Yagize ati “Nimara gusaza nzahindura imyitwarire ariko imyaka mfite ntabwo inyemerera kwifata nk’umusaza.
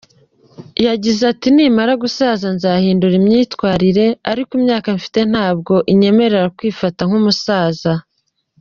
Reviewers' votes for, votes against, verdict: 0, 2, rejected